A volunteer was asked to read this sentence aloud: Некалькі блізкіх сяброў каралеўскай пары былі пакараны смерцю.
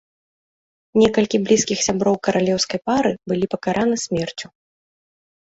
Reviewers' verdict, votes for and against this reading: accepted, 2, 0